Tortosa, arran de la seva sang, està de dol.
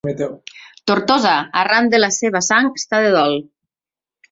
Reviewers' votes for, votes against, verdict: 1, 2, rejected